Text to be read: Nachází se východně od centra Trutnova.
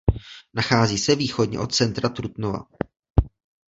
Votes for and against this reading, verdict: 2, 0, accepted